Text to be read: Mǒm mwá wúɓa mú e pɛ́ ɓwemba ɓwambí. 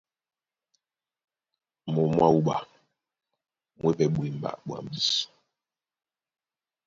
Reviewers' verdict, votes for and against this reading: accepted, 2, 0